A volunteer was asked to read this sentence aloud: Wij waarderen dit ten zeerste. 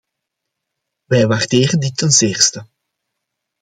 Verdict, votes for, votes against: accepted, 2, 0